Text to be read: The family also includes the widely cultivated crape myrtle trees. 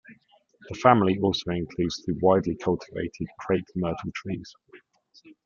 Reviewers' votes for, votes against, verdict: 1, 2, rejected